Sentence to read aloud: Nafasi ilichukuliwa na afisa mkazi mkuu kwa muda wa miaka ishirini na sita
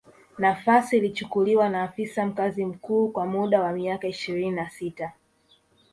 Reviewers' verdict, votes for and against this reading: rejected, 1, 2